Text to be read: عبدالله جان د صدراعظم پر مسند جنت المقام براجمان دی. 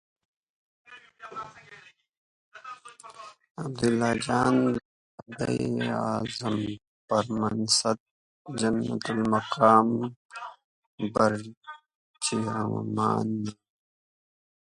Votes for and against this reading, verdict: 0, 2, rejected